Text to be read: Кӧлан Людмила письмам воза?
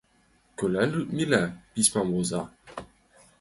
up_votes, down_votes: 2, 5